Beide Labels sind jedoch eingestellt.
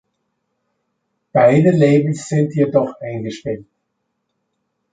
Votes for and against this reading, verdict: 2, 0, accepted